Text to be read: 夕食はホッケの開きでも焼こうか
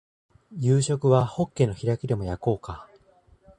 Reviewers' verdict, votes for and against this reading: rejected, 1, 2